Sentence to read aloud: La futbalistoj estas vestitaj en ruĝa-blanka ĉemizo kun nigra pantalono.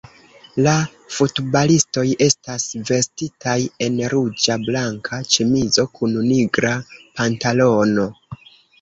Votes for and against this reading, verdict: 1, 2, rejected